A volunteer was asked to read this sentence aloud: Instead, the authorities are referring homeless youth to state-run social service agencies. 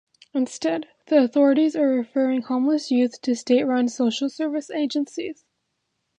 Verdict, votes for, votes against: accepted, 2, 0